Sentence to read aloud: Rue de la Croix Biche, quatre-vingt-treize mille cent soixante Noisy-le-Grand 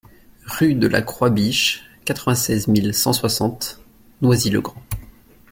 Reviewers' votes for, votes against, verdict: 1, 2, rejected